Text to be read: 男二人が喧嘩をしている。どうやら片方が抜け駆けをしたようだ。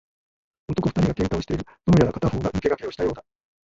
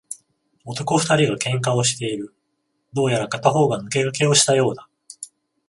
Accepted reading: second